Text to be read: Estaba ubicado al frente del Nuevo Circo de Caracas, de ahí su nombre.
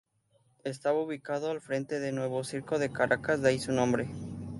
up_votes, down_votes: 2, 2